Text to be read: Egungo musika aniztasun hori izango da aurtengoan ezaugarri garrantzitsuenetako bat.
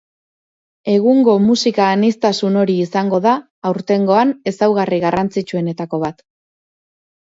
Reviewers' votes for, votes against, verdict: 4, 0, accepted